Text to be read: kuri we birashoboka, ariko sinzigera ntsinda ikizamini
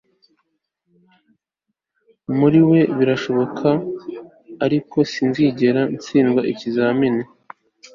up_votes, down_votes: 1, 2